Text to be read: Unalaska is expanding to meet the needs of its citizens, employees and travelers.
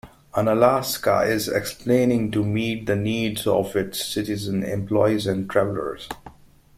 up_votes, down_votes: 1, 2